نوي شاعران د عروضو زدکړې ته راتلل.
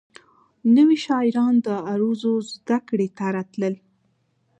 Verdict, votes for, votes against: accepted, 2, 0